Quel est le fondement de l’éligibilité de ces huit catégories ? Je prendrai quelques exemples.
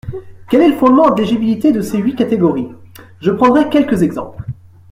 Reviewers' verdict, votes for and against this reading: accepted, 2, 1